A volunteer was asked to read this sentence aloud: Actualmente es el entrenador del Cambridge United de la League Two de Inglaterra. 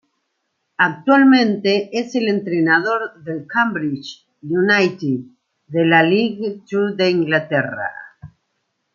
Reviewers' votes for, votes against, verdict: 1, 2, rejected